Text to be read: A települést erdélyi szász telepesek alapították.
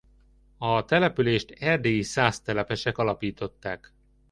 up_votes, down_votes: 2, 0